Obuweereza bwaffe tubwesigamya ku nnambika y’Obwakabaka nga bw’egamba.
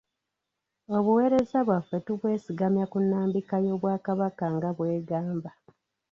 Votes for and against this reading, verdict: 1, 2, rejected